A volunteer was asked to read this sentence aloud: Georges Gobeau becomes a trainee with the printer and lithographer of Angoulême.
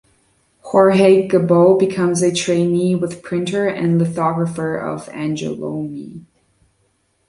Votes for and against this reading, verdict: 0, 2, rejected